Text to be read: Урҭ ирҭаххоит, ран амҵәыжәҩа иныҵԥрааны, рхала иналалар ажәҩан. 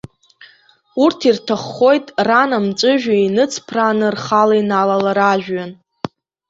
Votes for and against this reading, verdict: 0, 2, rejected